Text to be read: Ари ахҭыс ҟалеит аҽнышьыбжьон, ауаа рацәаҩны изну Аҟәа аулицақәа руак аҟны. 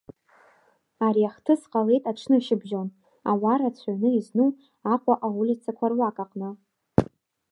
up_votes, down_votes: 2, 0